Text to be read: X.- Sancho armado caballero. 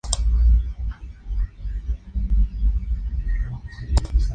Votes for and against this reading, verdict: 0, 2, rejected